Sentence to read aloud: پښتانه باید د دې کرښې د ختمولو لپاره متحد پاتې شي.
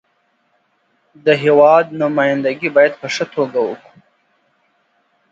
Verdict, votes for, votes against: rejected, 0, 2